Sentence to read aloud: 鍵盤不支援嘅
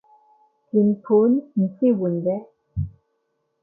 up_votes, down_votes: 0, 2